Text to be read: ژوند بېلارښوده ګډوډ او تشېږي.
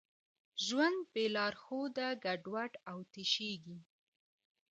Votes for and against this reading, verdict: 2, 0, accepted